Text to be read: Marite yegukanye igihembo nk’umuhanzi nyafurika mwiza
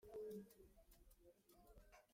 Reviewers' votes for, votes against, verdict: 0, 3, rejected